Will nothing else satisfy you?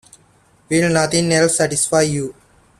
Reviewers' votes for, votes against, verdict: 2, 0, accepted